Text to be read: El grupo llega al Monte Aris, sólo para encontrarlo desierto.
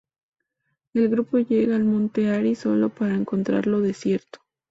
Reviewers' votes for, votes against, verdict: 2, 0, accepted